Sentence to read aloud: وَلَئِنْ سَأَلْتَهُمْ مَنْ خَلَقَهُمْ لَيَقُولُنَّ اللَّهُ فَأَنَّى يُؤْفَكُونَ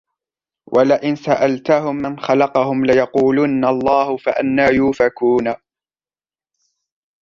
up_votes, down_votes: 2, 0